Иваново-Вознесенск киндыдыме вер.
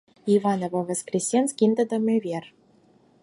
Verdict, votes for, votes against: rejected, 2, 8